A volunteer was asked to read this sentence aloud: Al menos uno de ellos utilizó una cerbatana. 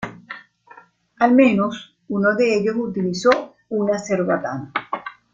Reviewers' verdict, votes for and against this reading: accepted, 2, 0